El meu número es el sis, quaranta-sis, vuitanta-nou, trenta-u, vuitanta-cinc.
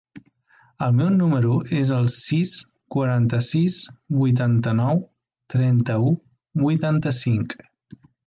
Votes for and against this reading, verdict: 3, 0, accepted